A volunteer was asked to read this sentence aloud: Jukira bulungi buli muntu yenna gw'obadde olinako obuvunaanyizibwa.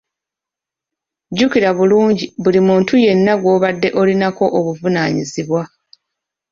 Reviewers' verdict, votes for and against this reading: accepted, 2, 0